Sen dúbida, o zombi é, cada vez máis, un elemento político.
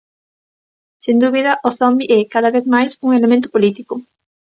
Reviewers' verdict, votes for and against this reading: accepted, 2, 0